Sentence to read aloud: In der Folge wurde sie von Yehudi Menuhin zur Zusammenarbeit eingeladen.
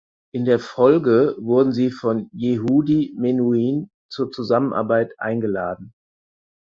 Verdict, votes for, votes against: rejected, 0, 4